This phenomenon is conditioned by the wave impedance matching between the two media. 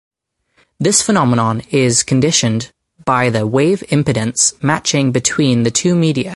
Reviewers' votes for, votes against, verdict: 4, 0, accepted